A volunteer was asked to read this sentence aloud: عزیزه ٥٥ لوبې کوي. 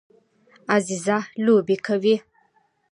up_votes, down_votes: 0, 2